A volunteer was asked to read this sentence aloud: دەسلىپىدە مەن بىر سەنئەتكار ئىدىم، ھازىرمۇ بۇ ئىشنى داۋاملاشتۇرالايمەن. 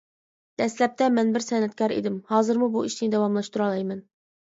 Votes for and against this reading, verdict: 0, 2, rejected